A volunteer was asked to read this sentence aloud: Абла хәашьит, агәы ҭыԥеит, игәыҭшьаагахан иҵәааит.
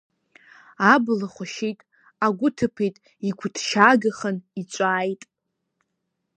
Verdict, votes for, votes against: accepted, 2, 0